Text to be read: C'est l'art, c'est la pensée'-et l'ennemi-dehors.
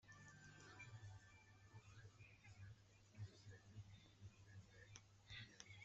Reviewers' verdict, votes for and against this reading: rejected, 0, 2